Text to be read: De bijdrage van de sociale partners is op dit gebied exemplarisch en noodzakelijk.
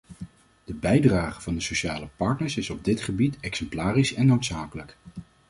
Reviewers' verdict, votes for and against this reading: accepted, 2, 0